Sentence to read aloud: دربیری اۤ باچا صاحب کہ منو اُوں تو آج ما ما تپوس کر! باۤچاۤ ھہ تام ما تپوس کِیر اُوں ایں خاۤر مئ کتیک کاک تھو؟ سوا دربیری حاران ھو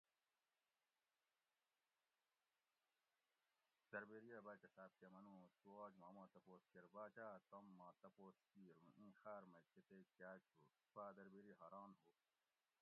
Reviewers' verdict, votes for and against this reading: rejected, 1, 2